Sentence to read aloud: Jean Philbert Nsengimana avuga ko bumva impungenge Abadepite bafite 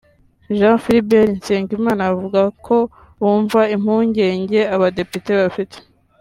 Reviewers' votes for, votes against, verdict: 2, 0, accepted